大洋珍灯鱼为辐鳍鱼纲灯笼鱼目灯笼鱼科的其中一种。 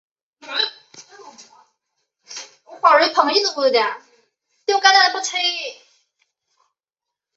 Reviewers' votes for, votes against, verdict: 0, 2, rejected